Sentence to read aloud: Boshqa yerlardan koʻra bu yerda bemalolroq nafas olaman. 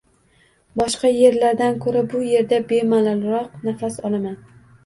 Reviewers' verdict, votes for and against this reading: accepted, 2, 0